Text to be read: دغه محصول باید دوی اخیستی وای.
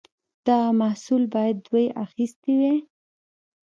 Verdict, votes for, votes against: rejected, 1, 2